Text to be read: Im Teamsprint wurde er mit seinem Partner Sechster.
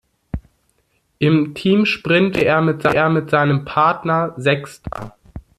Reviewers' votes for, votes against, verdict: 0, 2, rejected